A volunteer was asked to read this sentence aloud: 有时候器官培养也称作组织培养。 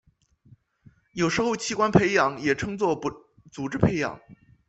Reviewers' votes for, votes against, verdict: 0, 2, rejected